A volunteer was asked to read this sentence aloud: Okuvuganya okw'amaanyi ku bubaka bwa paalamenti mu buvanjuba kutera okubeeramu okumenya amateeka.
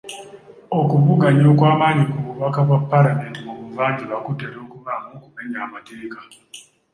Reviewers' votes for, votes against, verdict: 2, 0, accepted